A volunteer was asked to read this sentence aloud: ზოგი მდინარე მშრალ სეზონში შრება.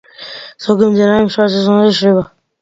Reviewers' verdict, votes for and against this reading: rejected, 1, 2